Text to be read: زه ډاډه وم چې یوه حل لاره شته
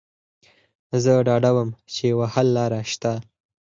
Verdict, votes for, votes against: accepted, 4, 2